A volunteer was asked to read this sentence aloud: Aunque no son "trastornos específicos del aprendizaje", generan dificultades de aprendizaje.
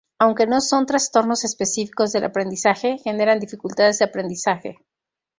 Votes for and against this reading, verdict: 2, 0, accepted